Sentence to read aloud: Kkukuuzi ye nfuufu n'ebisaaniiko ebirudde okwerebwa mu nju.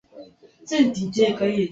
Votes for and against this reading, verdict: 0, 2, rejected